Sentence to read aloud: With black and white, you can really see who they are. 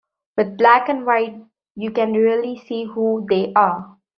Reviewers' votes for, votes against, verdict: 2, 0, accepted